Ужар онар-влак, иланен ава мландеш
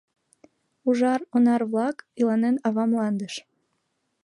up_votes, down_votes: 2, 1